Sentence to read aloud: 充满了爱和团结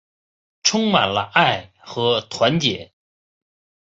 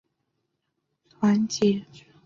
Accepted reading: first